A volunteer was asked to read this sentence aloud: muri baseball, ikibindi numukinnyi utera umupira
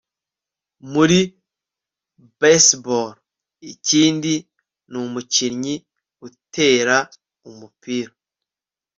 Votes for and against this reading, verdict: 1, 2, rejected